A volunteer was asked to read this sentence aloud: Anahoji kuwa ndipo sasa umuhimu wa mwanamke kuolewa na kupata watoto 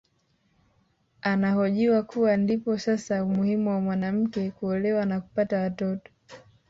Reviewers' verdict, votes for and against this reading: rejected, 1, 2